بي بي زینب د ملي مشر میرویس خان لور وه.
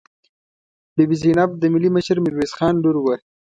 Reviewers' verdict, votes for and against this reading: accepted, 2, 0